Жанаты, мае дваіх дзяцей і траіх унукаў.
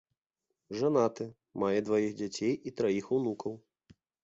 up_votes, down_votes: 2, 0